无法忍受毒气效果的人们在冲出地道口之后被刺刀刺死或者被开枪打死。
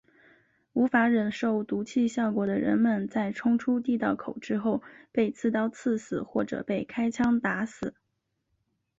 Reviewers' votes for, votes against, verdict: 3, 0, accepted